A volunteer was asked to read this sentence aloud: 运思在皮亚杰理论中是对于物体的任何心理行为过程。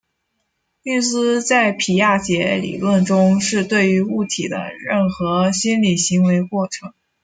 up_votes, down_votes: 2, 0